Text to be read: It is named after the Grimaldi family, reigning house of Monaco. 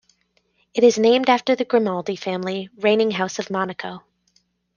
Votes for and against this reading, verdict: 2, 0, accepted